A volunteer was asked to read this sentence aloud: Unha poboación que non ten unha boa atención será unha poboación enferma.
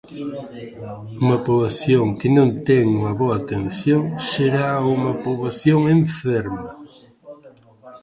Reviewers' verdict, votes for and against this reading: rejected, 1, 2